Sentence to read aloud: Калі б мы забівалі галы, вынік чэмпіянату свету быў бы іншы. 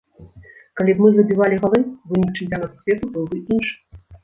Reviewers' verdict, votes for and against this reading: rejected, 0, 2